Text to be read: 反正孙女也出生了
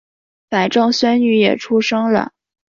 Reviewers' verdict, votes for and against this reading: accepted, 2, 0